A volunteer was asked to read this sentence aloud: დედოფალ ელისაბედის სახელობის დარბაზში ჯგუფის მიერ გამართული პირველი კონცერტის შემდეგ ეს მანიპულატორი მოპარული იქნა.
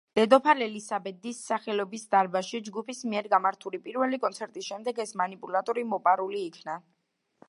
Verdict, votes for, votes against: rejected, 1, 2